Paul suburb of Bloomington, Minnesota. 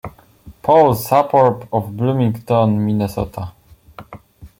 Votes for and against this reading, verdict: 0, 2, rejected